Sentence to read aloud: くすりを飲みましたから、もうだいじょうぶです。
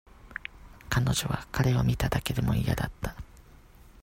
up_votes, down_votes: 0, 2